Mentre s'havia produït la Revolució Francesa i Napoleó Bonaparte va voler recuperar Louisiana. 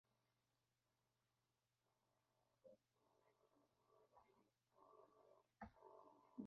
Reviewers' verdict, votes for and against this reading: rejected, 0, 2